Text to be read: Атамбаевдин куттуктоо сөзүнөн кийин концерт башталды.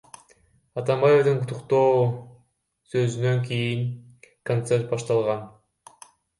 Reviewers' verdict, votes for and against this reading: rejected, 0, 2